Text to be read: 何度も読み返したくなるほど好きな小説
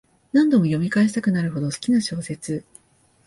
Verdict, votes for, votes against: accepted, 2, 0